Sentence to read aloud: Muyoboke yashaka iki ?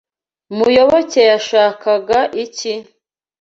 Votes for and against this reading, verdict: 1, 2, rejected